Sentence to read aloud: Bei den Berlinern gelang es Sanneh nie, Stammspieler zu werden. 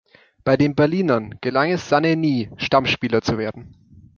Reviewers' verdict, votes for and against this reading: rejected, 0, 2